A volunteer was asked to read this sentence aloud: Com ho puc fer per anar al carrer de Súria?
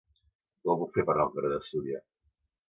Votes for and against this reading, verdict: 1, 2, rejected